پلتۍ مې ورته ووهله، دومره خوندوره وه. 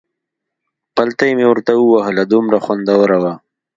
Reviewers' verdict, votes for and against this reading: accepted, 2, 0